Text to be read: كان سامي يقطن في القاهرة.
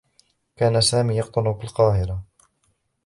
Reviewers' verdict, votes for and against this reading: rejected, 1, 2